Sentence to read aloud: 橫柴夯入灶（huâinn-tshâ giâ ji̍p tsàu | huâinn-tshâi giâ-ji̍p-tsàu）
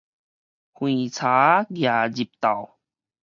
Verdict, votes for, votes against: rejected, 0, 4